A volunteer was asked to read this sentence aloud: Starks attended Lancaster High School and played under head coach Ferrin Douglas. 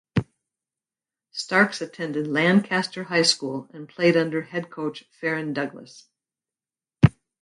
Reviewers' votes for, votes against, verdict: 2, 2, rejected